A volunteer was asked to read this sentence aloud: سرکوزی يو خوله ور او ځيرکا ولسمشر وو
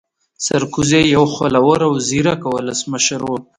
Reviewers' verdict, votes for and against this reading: accepted, 2, 0